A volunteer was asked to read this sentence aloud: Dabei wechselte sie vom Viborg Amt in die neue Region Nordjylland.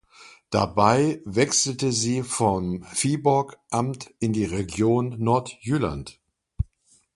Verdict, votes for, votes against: rejected, 1, 2